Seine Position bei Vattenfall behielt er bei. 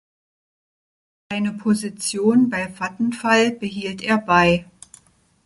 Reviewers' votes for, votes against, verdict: 1, 2, rejected